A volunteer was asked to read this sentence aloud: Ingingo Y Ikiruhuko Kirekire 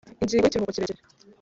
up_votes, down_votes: 2, 3